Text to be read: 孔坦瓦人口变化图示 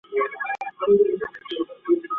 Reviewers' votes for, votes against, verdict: 0, 2, rejected